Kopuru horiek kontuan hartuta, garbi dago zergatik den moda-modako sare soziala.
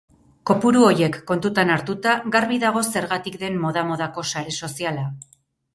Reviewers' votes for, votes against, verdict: 2, 4, rejected